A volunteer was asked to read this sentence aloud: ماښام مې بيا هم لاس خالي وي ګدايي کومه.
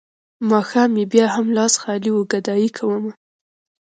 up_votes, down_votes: 1, 2